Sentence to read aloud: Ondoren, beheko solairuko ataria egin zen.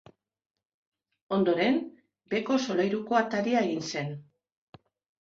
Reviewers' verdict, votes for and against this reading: accepted, 2, 0